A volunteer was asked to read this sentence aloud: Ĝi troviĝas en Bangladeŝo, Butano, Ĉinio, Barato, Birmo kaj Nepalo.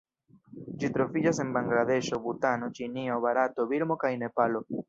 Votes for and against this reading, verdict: 0, 2, rejected